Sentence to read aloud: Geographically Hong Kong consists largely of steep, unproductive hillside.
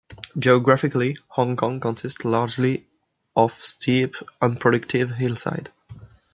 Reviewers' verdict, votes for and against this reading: accepted, 2, 0